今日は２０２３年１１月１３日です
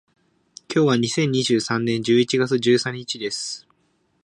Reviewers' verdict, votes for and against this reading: rejected, 0, 2